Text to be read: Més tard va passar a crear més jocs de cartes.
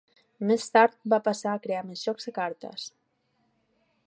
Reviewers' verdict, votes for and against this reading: accepted, 2, 0